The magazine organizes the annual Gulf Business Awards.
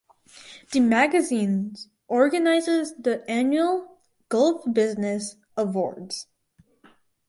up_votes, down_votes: 2, 2